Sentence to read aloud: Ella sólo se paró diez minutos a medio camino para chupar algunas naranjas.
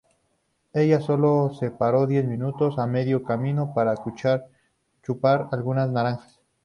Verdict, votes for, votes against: accepted, 2, 0